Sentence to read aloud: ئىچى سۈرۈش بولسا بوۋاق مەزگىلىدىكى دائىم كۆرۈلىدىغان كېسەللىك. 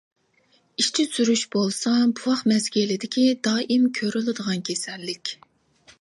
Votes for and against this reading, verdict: 2, 1, accepted